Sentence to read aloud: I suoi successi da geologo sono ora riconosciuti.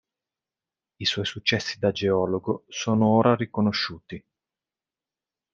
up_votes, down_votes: 3, 0